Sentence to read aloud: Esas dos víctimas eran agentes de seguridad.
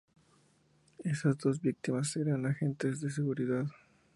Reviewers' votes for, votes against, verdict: 2, 0, accepted